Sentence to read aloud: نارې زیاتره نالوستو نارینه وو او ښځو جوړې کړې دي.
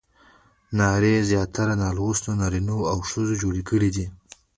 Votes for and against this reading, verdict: 1, 2, rejected